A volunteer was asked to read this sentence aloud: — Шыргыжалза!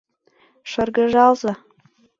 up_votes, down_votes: 2, 0